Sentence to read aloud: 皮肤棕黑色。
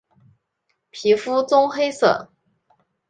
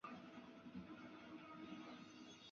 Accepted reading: first